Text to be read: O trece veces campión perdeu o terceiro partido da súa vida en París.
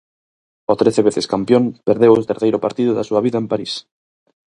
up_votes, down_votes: 4, 0